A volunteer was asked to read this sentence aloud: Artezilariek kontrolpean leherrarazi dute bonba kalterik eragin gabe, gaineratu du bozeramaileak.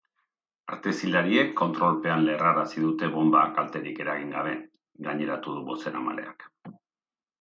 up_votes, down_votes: 1, 3